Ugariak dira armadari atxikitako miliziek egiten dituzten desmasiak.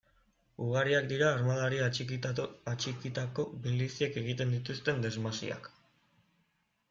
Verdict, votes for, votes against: rejected, 1, 2